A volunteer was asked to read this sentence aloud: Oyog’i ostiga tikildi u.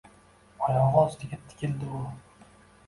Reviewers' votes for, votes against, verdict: 2, 0, accepted